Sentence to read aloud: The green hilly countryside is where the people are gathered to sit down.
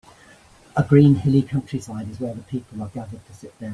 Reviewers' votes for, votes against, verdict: 0, 2, rejected